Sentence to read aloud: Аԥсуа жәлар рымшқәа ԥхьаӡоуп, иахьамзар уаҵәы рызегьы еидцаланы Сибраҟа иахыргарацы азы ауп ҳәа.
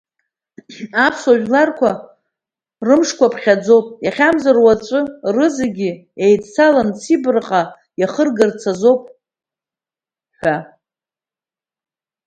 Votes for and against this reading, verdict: 2, 1, accepted